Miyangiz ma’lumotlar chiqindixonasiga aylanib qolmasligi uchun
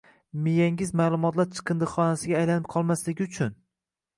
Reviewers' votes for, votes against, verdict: 2, 0, accepted